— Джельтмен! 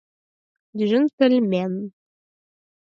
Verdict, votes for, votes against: accepted, 4, 0